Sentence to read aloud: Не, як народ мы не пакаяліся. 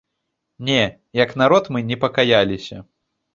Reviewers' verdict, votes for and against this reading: rejected, 1, 2